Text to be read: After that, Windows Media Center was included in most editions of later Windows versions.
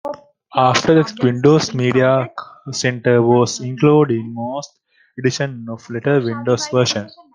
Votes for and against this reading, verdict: 0, 2, rejected